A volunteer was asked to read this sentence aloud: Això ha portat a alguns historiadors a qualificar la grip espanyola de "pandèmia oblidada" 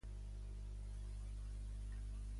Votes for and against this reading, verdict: 0, 2, rejected